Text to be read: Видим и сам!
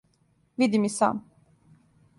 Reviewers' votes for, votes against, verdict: 2, 0, accepted